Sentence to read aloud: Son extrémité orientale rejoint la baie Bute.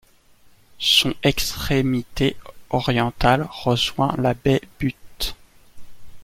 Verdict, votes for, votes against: accepted, 2, 1